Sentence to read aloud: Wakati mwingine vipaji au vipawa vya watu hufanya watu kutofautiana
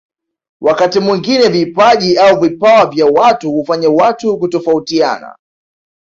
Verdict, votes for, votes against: accepted, 2, 1